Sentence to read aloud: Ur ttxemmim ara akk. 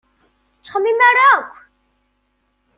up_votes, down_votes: 2, 0